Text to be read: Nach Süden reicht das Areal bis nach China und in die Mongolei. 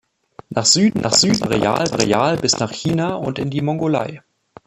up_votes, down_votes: 0, 3